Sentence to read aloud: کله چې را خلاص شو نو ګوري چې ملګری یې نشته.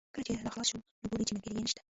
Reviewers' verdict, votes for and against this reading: rejected, 1, 2